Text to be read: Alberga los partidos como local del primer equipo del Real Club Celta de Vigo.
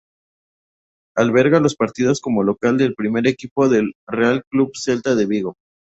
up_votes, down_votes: 2, 0